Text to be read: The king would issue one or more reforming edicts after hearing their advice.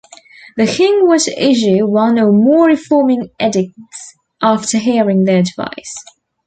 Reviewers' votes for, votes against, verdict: 2, 3, rejected